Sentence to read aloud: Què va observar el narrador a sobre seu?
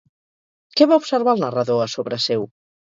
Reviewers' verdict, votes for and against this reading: accepted, 4, 0